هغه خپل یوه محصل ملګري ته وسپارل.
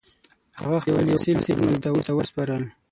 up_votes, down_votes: 3, 6